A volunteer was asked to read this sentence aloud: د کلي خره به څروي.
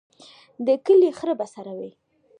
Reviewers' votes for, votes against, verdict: 2, 1, accepted